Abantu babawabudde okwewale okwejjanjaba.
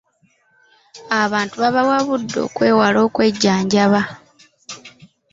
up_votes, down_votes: 2, 1